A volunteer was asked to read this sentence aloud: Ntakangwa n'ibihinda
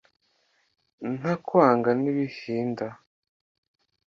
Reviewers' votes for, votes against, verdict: 1, 2, rejected